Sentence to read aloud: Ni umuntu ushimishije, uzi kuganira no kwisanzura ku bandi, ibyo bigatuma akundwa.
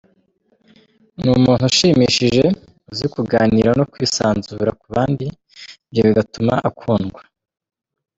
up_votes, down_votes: 2, 1